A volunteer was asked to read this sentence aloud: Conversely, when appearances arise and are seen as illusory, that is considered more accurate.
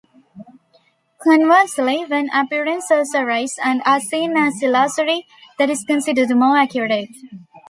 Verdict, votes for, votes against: rejected, 1, 3